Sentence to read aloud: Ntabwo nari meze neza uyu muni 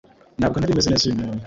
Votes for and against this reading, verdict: 1, 2, rejected